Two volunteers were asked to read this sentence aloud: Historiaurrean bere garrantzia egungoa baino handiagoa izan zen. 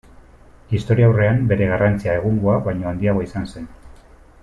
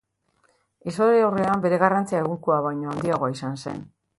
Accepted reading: first